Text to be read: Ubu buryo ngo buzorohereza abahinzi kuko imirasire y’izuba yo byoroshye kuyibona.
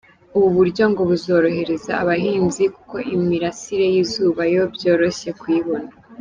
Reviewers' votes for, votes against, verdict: 2, 0, accepted